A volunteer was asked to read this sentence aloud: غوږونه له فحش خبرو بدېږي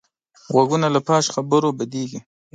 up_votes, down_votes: 2, 0